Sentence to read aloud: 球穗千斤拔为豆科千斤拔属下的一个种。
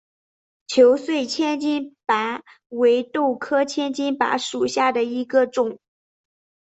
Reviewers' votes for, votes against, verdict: 2, 0, accepted